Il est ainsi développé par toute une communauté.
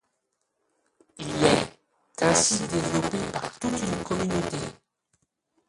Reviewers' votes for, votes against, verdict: 0, 2, rejected